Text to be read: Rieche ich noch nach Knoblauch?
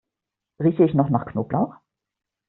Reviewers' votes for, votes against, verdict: 2, 0, accepted